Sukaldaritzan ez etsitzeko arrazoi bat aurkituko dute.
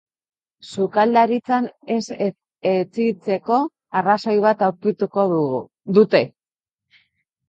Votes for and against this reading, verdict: 0, 2, rejected